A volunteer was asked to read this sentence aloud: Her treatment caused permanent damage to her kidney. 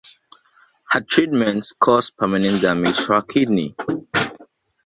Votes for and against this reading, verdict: 0, 2, rejected